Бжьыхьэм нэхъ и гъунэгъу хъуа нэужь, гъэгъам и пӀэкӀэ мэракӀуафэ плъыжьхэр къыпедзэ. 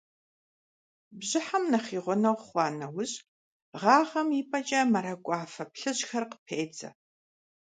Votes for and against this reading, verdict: 1, 2, rejected